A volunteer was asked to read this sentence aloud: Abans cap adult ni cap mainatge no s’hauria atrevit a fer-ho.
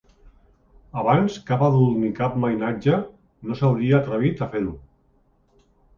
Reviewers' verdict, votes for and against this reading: accepted, 2, 0